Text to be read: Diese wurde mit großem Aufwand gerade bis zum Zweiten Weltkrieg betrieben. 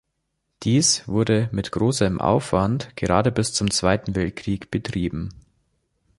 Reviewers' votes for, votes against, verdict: 0, 3, rejected